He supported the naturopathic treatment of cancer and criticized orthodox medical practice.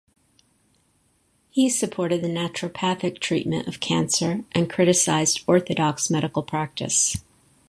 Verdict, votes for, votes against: accepted, 2, 0